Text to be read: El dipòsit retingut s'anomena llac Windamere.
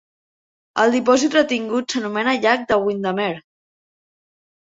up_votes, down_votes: 1, 2